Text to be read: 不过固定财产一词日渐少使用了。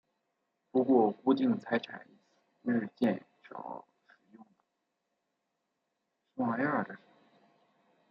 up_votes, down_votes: 0, 2